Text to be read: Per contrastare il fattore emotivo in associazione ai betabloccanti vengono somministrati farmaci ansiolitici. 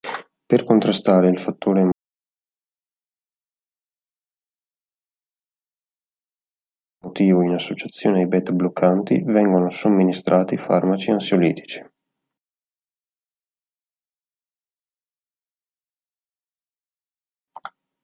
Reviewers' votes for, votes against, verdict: 1, 3, rejected